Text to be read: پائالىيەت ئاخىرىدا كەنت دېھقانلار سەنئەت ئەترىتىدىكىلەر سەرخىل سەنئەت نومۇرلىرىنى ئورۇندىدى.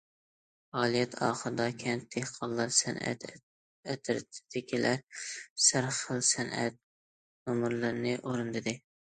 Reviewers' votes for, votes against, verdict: 1, 2, rejected